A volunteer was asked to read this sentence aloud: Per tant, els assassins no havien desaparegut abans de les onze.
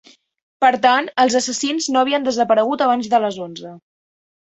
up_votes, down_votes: 5, 0